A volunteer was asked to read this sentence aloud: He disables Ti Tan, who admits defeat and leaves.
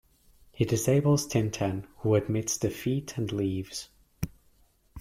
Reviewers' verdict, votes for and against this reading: rejected, 0, 2